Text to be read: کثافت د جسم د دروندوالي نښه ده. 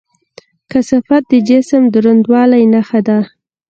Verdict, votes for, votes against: accepted, 2, 0